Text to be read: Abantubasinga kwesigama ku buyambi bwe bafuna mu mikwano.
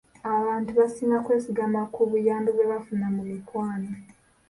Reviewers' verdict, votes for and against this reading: rejected, 0, 2